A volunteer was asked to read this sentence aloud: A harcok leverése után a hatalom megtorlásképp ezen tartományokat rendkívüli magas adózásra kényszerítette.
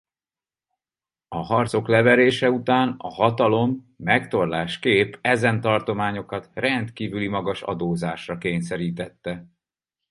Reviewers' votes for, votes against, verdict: 4, 0, accepted